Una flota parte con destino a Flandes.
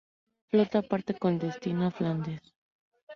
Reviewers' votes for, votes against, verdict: 0, 2, rejected